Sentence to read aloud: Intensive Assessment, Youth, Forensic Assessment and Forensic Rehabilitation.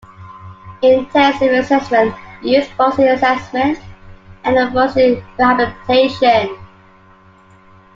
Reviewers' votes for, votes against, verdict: 0, 2, rejected